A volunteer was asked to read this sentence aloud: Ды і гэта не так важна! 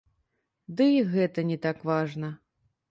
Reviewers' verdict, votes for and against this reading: rejected, 0, 3